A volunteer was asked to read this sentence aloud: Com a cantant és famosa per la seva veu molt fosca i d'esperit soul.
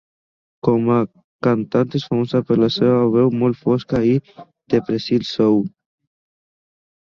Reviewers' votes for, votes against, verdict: 1, 3, rejected